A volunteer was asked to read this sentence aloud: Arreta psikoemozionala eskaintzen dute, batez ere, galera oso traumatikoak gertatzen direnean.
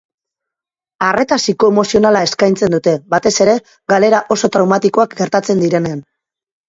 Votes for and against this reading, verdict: 4, 0, accepted